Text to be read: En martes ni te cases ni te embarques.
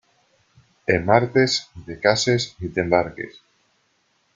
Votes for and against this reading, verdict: 0, 2, rejected